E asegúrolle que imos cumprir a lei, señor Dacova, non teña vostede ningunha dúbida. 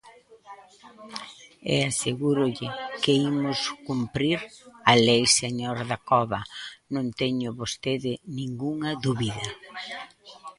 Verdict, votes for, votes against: rejected, 1, 2